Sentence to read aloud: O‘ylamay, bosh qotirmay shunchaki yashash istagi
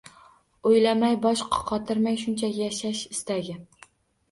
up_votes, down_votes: 0, 2